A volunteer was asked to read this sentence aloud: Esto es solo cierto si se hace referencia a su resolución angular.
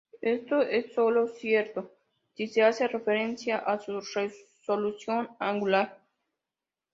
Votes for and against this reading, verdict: 2, 0, accepted